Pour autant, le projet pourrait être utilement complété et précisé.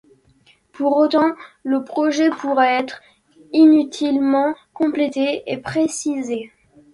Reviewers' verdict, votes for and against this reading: rejected, 1, 2